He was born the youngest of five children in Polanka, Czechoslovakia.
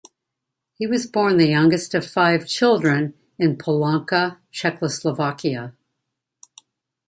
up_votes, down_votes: 2, 0